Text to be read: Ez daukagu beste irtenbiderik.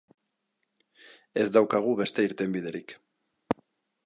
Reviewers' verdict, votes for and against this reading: accepted, 2, 0